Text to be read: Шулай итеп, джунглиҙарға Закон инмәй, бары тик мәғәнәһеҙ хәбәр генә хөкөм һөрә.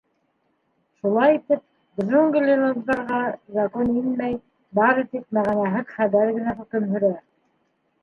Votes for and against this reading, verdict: 2, 1, accepted